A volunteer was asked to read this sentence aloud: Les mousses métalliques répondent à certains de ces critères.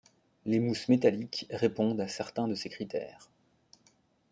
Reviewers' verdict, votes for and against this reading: accepted, 2, 0